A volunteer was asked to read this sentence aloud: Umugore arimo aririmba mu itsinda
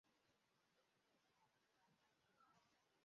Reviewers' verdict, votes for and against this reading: rejected, 0, 2